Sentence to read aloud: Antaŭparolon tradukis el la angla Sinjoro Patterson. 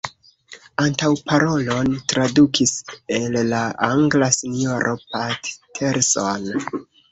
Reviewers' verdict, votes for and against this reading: rejected, 1, 2